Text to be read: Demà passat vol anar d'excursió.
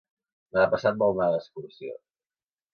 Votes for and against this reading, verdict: 0, 2, rejected